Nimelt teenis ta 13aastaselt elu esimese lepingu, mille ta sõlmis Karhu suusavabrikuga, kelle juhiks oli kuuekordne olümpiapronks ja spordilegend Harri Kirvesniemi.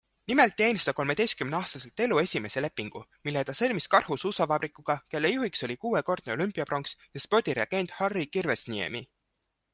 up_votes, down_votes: 0, 2